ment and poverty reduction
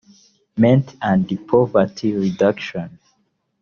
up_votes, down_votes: 1, 2